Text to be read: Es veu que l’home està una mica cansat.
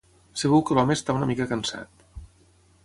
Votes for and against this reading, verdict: 3, 6, rejected